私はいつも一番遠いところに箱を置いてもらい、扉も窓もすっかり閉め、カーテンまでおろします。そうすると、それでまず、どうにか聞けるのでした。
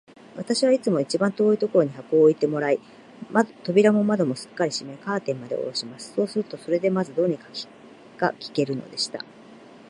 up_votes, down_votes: 2, 0